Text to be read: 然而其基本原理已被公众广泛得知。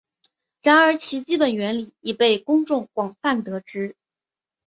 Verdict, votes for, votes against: accepted, 2, 0